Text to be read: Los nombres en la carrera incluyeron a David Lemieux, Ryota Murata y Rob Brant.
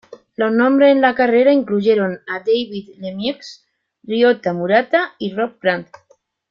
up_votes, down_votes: 2, 0